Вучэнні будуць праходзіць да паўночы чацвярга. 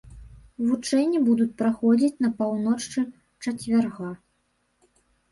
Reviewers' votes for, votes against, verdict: 1, 2, rejected